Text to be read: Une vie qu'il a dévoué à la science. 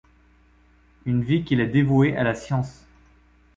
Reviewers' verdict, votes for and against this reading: accepted, 2, 0